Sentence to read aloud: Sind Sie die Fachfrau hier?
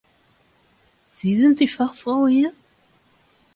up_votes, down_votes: 0, 2